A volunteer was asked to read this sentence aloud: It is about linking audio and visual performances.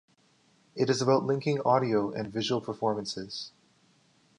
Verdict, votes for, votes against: accepted, 2, 0